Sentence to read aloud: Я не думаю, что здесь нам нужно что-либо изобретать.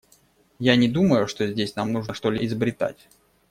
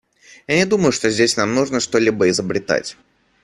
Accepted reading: second